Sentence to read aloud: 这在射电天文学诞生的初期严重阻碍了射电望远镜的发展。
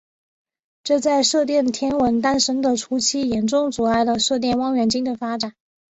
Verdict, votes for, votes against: accepted, 5, 2